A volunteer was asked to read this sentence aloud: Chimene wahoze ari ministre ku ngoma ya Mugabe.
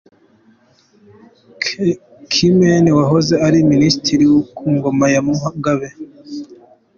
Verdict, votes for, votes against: accepted, 2, 0